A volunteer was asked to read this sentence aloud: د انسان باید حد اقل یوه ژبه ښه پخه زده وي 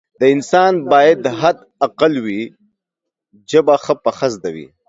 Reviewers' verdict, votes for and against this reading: rejected, 1, 2